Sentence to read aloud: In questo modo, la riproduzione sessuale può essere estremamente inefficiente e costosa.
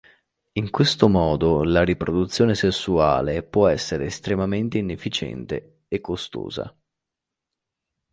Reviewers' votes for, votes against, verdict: 2, 0, accepted